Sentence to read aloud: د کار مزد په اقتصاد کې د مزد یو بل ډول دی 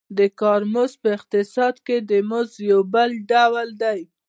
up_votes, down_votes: 2, 0